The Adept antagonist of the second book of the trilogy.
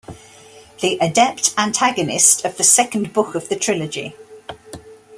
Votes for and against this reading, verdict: 2, 0, accepted